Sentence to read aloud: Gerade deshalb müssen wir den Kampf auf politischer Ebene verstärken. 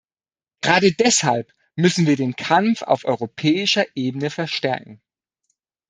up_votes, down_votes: 0, 2